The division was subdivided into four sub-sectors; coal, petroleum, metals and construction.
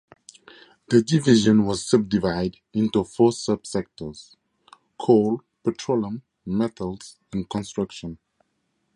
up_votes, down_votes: 4, 2